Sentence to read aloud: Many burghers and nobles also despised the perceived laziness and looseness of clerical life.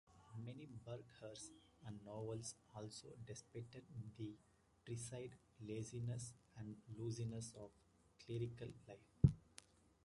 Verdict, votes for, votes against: rejected, 1, 2